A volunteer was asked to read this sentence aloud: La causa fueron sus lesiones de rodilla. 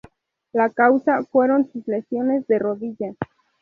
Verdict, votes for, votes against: accepted, 2, 0